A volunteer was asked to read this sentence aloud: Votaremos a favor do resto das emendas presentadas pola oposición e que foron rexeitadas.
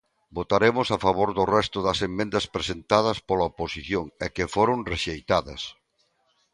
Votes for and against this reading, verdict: 1, 2, rejected